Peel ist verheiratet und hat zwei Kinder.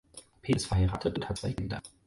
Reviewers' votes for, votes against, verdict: 2, 4, rejected